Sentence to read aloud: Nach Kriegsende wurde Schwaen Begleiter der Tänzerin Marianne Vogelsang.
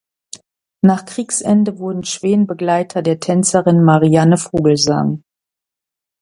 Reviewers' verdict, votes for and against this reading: rejected, 0, 2